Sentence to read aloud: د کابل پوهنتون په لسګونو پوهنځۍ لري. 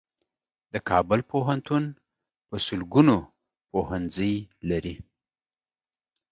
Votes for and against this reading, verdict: 1, 2, rejected